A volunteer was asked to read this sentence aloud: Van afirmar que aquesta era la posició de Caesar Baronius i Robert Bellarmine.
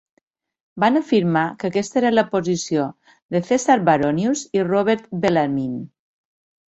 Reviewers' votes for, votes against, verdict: 2, 1, accepted